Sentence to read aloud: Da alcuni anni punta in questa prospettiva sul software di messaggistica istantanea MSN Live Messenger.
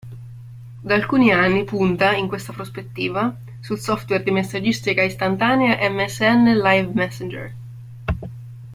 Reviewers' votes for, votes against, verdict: 2, 0, accepted